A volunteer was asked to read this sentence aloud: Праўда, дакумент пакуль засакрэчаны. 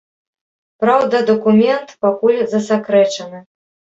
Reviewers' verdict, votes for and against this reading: accepted, 2, 0